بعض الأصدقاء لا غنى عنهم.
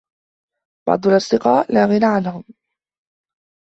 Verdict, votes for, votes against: accepted, 2, 0